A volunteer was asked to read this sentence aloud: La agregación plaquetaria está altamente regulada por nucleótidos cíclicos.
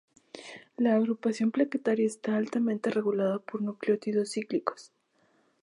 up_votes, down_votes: 0, 2